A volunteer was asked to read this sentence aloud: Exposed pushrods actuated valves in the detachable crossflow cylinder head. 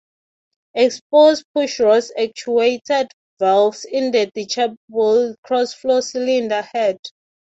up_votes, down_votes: 0, 6